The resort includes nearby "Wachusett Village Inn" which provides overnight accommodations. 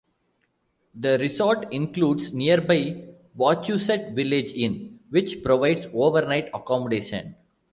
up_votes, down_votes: 2, 1